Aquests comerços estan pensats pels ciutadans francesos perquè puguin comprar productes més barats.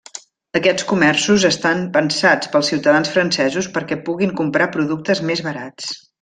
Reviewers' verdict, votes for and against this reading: accepted, 3, 0